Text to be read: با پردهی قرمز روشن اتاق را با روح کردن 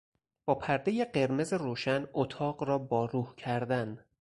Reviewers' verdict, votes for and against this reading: accepted, 4, 0